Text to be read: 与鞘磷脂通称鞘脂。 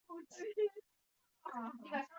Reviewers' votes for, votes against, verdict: 0, 4, rejected